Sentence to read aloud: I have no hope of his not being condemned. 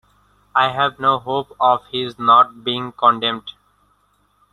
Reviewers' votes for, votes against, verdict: 2, 1, accepted